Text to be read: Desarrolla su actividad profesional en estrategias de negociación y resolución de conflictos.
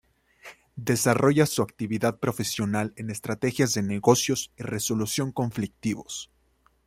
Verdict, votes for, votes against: rejected, 1, 2